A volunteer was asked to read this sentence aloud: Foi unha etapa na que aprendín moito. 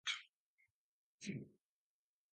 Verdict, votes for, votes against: rejected, 0, 2